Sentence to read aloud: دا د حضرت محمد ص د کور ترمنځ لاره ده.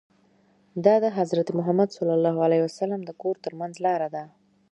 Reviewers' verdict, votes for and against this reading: rejected, 1, 2